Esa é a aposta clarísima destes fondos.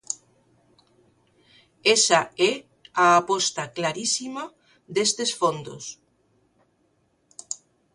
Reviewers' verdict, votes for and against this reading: accepted, 2, 0